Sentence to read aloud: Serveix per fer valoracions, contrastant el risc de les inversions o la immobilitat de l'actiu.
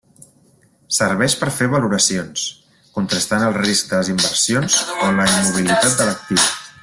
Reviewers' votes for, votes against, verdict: 0, 2, rejected